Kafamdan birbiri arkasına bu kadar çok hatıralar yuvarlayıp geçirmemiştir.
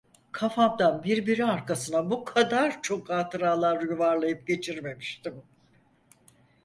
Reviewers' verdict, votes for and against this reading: rejected, 0, 4